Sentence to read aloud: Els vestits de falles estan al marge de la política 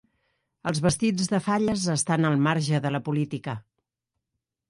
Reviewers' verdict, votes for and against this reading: accepted, 3, 0